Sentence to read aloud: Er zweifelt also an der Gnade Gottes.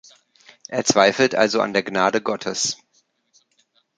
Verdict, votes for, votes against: accepted, 2, 0